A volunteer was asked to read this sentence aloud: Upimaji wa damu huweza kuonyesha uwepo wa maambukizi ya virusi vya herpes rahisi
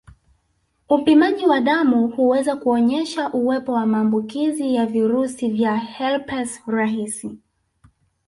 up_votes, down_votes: 1, 2